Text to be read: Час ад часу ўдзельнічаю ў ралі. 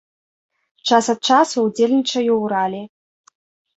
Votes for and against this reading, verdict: 2, 0, accepted